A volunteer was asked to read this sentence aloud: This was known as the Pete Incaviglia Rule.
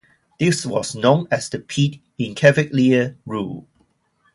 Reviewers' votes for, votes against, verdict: 0, 2, rejected